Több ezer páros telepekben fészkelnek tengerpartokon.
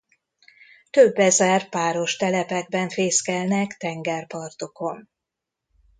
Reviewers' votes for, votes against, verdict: 2, 1, accepted